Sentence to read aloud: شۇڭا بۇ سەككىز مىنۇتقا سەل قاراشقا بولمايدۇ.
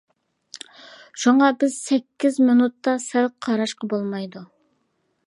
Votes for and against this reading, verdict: 1, 2, rejected